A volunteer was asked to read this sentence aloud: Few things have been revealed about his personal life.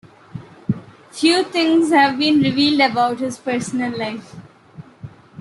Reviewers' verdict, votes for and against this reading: accepted, 3, 2